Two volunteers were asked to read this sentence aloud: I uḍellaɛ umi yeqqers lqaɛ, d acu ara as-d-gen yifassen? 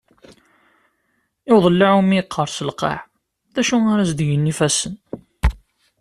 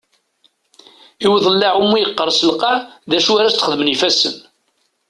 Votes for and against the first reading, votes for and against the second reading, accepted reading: 2, 0, 1, 2, first